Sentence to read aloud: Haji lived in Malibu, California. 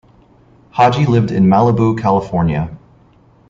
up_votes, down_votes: 2, 0